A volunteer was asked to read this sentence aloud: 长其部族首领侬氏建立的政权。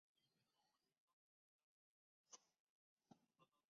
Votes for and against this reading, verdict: 1, 5, rejected